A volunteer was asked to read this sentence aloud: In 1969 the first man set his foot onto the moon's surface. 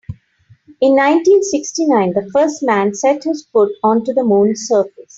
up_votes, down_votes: 0, 2